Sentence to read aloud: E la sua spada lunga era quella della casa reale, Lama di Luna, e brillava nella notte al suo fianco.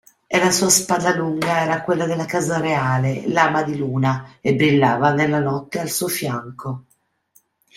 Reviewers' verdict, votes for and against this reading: accepted, 2, 0